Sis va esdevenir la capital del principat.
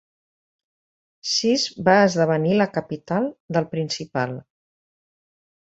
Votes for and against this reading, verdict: 0, 2, rejected